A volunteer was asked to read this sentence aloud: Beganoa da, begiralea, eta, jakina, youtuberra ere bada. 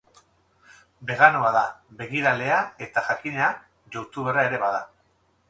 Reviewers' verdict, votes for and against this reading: accepted, 2, 0